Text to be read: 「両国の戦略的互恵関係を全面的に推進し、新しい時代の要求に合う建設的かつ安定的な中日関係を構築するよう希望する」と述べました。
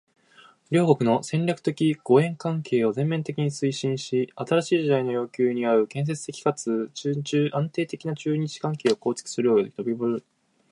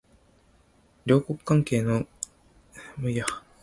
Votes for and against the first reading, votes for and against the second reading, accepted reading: 1, 2, 2, 0, second